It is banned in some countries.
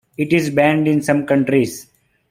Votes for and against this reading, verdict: 2, 0, accepted